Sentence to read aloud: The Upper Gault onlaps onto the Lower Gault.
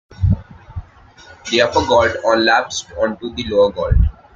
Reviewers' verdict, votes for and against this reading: rejected, 1, 2